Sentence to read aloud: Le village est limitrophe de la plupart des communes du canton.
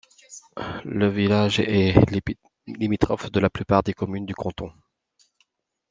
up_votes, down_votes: 1, 2